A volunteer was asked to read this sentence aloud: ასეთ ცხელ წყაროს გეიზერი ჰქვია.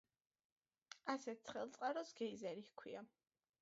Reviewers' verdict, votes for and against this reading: accepted, 2, 0